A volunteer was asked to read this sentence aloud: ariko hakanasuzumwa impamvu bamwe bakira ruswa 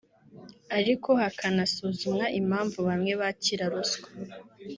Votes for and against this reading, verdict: 2, 0, accepted